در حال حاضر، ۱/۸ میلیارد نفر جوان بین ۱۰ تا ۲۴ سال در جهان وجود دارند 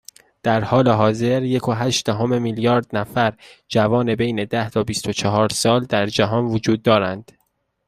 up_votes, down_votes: 0, 2